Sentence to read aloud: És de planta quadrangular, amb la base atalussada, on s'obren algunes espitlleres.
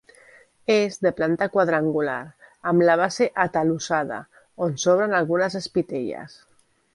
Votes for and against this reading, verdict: 1, 2, rejected